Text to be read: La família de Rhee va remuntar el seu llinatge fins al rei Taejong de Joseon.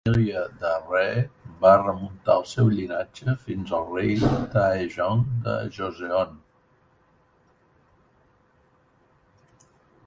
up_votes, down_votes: 0, 2